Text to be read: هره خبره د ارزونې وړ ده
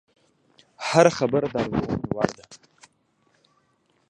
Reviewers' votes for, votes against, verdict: 1, 2, rejected